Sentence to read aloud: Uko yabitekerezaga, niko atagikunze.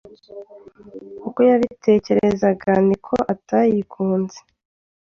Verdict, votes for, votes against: rejected, 1, 2